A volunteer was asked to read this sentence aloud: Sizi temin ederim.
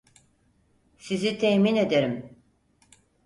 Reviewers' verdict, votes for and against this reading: accepted, 4, 0